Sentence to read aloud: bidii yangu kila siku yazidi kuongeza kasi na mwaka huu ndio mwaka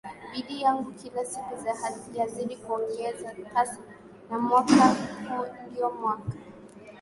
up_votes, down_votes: 2, 0